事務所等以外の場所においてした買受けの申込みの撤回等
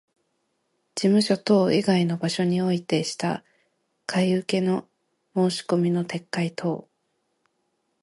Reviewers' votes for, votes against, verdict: 2, 0, accepted